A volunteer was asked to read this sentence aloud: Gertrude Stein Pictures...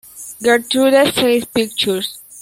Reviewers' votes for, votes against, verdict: 1, 2, rejected